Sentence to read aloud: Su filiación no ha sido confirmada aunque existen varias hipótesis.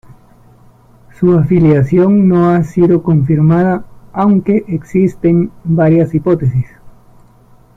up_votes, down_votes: 0, 2